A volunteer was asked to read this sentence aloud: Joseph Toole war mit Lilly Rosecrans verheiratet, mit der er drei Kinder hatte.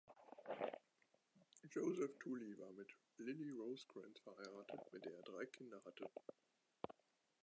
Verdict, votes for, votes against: rejected, 0, 2